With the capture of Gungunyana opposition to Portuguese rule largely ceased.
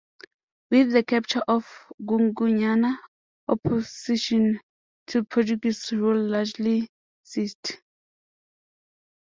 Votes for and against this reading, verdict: 2, 1, accepted